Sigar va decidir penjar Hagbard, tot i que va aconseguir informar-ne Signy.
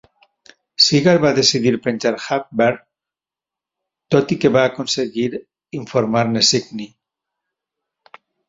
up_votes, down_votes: 4, 0